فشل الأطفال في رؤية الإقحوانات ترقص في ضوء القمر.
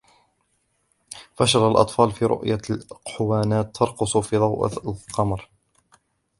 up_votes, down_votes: 1, 2